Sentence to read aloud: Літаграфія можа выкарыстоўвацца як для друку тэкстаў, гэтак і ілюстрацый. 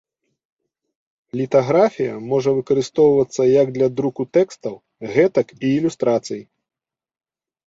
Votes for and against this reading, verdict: 2, 0, accepted